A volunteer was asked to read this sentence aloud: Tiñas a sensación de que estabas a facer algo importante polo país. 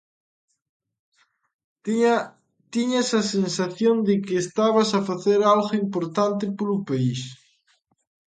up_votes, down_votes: 0, 2